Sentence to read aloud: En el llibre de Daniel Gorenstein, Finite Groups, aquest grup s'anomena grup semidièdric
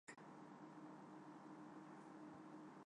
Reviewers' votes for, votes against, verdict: 0, 2, rejected